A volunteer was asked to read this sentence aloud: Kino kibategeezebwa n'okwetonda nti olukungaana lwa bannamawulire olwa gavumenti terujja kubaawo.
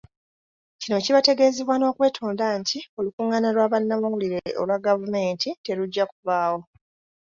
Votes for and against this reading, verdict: 2, 0, accepted